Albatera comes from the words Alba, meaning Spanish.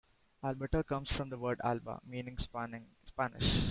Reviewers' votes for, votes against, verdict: 1, 2, rejected